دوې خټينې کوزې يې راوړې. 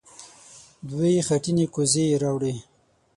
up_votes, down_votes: 6, 0